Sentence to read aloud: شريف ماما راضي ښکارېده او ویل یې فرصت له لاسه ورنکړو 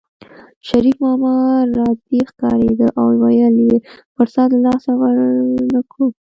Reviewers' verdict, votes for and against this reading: rejected, 1, 2